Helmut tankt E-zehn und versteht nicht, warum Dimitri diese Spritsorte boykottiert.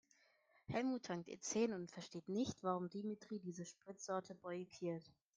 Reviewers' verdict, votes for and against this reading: rejected, 0, 3